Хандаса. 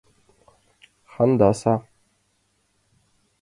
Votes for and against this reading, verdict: 2, 0, accepted